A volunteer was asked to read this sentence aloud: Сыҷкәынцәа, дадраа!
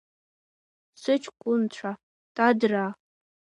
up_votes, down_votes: 0, 2